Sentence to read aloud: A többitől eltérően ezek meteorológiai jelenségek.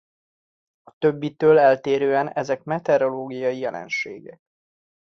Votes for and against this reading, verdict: 2, 0, accepted